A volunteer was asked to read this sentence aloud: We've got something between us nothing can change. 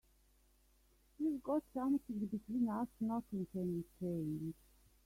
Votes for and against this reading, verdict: 2, 0, accepted